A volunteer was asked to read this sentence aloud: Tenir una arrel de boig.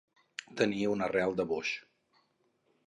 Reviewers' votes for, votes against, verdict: 2, 4, rejected